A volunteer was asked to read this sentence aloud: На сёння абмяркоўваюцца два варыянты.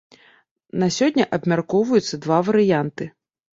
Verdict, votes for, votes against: accepted, 2, 0